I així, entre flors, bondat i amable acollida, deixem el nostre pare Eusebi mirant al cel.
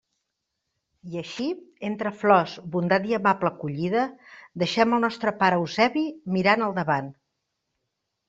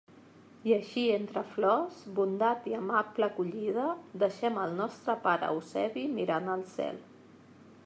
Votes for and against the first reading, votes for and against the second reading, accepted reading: 0, 2, 2, 1, second